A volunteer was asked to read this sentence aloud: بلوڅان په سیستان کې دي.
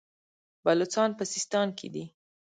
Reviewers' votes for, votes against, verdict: 1, 2, rejected